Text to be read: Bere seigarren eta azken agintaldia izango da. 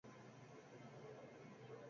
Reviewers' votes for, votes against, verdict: 0, 32, rejected